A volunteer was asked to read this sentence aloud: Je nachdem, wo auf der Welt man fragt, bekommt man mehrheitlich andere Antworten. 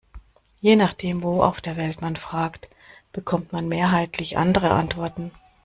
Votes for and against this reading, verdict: 2, 0, accepted